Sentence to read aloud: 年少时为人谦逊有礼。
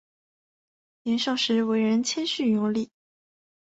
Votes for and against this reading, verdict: 8, 1, accepted